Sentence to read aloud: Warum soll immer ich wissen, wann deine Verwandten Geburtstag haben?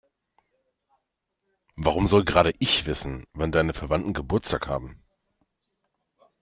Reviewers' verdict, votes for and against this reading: rejected, 0, 2